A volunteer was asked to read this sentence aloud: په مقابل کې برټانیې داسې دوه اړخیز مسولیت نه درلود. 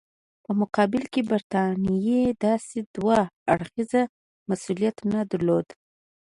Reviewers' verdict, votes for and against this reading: accepted, 2, 0